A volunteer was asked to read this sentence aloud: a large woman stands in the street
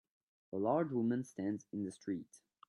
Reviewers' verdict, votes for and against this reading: accepted, 2, 0